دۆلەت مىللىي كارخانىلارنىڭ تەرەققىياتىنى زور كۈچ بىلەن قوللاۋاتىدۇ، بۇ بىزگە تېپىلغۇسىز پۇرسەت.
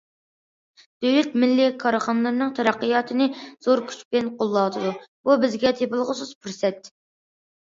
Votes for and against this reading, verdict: 2, 0, accepted